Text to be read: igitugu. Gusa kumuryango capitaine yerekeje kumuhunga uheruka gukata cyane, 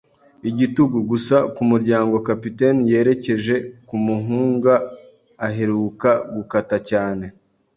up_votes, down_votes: 1, 2